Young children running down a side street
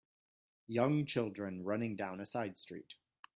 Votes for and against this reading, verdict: 2, 1, accepted